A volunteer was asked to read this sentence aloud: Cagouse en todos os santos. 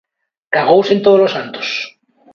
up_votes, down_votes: 2, 0